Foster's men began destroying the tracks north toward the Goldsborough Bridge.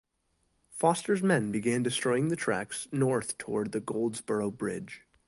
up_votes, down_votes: 2, 0